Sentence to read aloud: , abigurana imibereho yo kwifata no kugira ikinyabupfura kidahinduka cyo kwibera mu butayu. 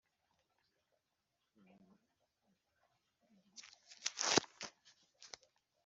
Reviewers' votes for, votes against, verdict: 1, 2, rejected